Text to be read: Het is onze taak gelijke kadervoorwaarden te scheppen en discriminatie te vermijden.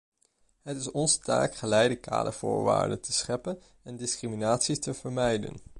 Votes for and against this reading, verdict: 0, 2, rejected